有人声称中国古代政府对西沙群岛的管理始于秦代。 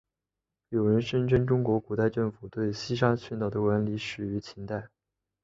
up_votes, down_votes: 2, 0